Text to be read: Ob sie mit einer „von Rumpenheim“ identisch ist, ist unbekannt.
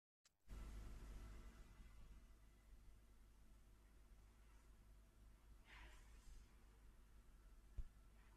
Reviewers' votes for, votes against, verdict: 0, 2, rejected